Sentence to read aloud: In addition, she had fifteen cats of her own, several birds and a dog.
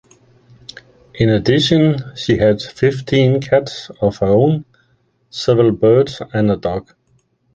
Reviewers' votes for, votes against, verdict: 2, 0, accepted